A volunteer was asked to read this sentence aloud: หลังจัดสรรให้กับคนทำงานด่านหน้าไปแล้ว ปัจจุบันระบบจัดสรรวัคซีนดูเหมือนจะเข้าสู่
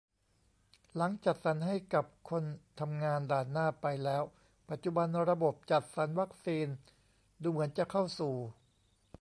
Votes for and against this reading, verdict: 2, 0, accepted